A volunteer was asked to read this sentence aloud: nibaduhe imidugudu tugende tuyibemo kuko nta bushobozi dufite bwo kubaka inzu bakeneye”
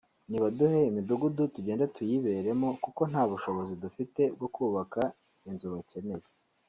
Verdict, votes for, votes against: rejected, 1, 2